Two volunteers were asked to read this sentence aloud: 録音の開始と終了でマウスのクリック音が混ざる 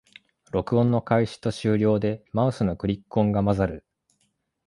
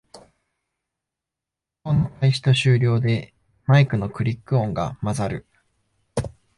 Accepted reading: first